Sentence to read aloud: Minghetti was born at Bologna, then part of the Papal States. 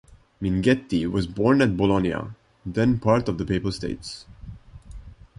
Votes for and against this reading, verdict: 2, 0, accepted